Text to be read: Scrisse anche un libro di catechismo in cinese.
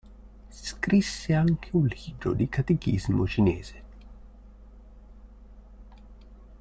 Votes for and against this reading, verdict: 0, 2, rejected